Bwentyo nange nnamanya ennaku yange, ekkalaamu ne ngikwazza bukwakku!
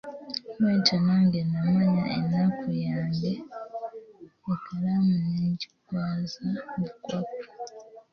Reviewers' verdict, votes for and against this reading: rejected, 0, 2